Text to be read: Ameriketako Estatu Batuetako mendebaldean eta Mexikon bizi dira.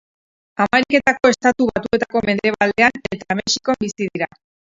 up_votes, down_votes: 0, 4